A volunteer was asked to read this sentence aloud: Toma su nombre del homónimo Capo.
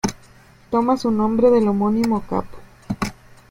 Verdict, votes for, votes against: rejected, 1, 2